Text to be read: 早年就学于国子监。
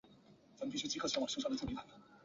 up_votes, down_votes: 0, 3